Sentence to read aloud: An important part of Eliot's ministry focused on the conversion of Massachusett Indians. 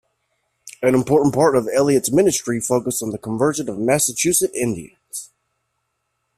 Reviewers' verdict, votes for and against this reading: accepted, 2, 0